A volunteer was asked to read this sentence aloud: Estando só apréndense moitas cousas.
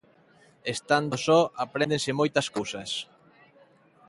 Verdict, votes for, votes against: accepted, 2, 0